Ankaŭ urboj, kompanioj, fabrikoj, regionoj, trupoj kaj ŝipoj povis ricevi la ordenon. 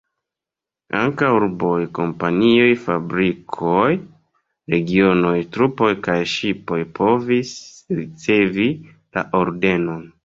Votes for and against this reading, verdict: 1, 2, rejected